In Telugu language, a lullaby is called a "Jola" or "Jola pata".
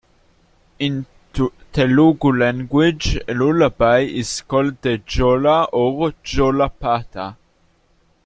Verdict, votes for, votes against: rejected, 1, 2